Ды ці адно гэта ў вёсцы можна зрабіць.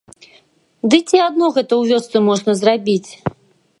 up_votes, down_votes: 2, 0